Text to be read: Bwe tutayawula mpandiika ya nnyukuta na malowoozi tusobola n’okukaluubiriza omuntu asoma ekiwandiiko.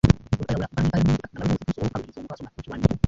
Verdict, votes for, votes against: rejected, 0, 2